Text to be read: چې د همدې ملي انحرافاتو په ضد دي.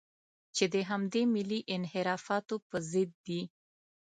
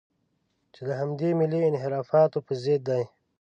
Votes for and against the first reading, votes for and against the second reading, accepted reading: 2, 0, 0, 2, first